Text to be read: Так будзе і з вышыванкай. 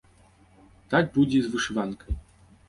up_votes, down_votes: 2, 0